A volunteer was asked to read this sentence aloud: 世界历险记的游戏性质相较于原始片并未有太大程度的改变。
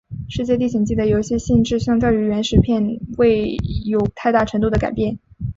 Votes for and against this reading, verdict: 2, 0, accepted